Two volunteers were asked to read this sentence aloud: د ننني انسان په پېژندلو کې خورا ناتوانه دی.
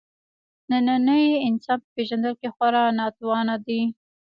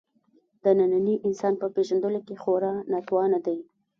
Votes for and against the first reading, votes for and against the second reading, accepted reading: 2, 0, 1, 2, first